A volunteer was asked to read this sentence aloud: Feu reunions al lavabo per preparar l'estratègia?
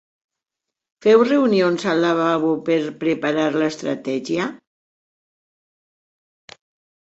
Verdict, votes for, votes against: accepted, 3, 0